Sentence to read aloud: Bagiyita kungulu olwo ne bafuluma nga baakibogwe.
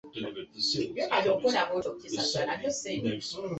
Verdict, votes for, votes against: rejected, 0, 2